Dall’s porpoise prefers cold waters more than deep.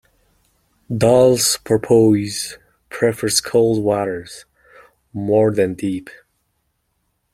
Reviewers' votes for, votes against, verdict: 2, 0, accepted